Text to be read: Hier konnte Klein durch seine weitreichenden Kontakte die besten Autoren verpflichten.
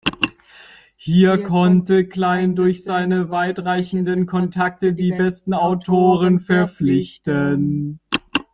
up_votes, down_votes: 1, 2